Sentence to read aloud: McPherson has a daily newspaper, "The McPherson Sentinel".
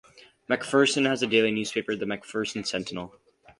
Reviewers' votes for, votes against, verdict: 2, 0, accepted